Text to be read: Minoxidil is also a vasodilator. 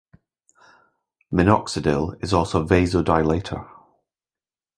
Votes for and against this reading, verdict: 2, 1, accepted